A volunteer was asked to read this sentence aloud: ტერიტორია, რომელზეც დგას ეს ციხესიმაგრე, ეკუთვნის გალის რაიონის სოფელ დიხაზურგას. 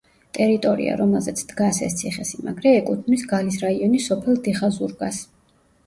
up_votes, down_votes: 1, 2